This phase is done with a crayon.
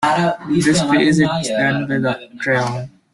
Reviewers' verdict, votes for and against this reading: rejected, 0, 2